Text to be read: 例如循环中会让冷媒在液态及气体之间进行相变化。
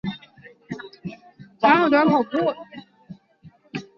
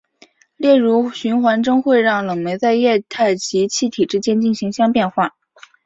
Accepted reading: second